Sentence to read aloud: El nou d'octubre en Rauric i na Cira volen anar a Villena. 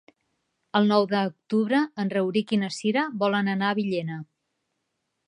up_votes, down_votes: 0, 2